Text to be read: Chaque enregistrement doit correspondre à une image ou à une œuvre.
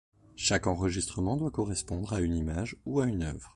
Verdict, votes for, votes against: accepted, 2, 0